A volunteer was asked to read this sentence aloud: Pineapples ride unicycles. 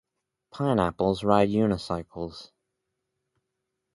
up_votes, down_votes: 0, 2